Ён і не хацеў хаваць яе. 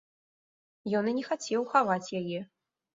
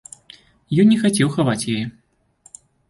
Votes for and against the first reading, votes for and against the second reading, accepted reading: 2, 0, 1, 2, first